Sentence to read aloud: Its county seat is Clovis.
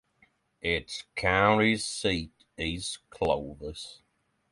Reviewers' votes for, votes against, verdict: 3, 3, rejected